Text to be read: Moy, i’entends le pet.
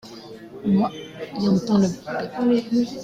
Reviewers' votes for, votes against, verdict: 2, 0, accepted